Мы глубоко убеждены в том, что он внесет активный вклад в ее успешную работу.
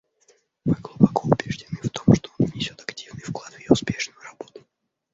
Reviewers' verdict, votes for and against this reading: accepted, 2, 1